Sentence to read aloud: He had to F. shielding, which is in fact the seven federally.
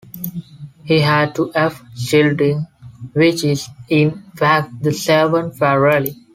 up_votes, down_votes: 1, 2